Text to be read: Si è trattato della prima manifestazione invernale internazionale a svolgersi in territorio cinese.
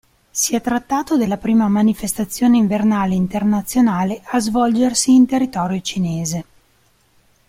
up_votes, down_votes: 2, 0